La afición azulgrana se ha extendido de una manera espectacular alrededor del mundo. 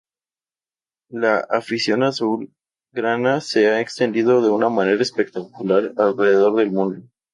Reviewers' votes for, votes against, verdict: 2, 0, accepted